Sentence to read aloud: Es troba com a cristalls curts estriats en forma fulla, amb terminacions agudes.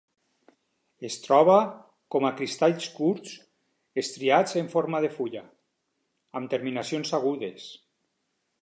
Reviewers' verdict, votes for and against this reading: rejected, 2, 4